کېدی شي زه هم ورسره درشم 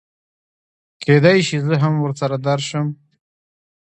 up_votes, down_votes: 2, 0